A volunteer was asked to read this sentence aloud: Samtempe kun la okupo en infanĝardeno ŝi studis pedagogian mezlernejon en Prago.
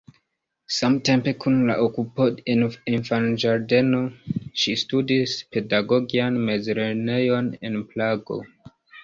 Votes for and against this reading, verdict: 1, 2, rejected